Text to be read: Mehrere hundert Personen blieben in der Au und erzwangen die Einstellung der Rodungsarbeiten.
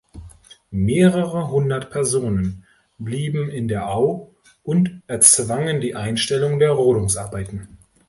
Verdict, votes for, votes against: accepted, 2, 0